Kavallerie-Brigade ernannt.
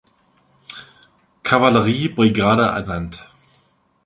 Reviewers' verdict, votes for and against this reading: rejected, 1, 2